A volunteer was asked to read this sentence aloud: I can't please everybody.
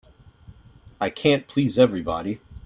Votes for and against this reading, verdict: 3, 0, accepted